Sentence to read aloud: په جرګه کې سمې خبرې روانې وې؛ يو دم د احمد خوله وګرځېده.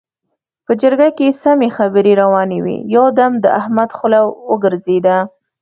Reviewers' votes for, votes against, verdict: 2, 0, accepted